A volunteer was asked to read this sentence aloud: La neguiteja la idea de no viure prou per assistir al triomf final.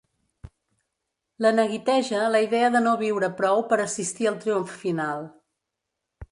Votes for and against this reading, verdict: 3, 0, accepted